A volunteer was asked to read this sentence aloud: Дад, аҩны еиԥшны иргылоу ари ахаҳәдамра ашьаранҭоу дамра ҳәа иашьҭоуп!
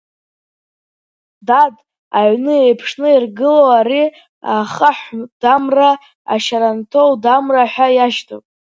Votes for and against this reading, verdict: 1, 2, rejected